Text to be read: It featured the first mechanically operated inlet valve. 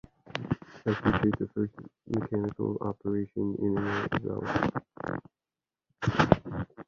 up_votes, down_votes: 0, 2